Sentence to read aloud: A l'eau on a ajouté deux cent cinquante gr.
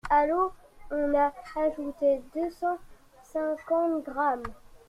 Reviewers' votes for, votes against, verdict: 2, 1, accepted